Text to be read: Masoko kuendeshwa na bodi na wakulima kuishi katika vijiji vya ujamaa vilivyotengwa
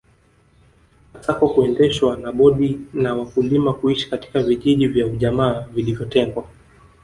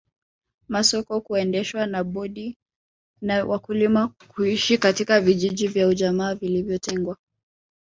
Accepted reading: first